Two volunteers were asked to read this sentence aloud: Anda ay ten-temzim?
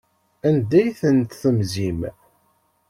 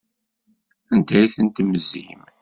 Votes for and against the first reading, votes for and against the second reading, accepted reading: 1, 2, 2, 0, second